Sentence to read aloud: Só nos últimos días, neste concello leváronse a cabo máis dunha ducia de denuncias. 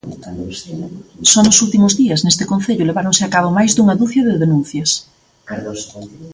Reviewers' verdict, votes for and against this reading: rejected, 1, 2